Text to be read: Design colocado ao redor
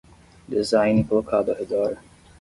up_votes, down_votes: 5, 5